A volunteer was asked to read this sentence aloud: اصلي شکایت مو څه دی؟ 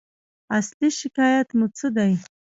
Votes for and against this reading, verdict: 0, 2, rejected